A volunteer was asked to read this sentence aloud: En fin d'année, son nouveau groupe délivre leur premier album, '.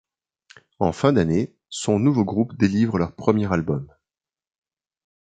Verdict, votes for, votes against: accepted, 2, 0